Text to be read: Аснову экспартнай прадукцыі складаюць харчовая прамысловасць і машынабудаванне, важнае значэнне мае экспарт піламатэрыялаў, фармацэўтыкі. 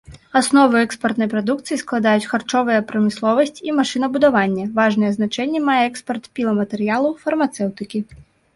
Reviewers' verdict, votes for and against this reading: accepted, 2, 0